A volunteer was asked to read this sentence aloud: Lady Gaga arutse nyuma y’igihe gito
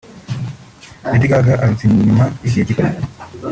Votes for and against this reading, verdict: 1, 2, rejected